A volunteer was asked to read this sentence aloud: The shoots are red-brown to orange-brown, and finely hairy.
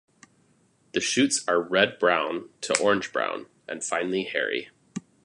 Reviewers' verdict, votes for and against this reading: accepted, 2, 0